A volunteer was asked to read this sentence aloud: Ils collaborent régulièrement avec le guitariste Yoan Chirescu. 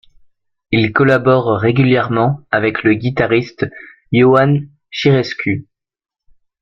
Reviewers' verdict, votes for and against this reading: accepted, 2, 1